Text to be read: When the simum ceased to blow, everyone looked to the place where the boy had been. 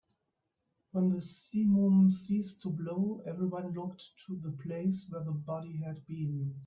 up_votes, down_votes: 1, 2